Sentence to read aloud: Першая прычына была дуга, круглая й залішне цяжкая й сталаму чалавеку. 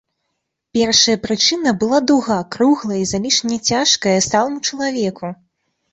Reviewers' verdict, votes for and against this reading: accepted, 2, 0